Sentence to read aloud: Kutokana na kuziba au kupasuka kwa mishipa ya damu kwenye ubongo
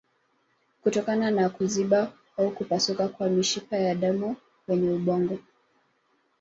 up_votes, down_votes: 2, 1